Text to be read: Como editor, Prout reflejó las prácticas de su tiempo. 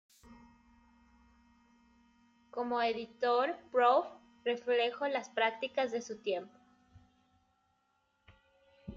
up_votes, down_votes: 1, 2